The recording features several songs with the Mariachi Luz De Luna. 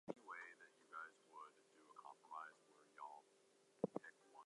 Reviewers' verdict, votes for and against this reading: rejected, 0, 2